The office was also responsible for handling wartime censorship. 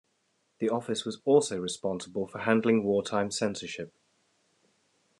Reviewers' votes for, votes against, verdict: 2, 0, accepted